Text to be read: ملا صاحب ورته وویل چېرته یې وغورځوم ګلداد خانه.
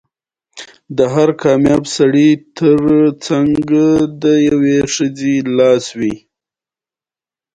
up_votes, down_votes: 2, 0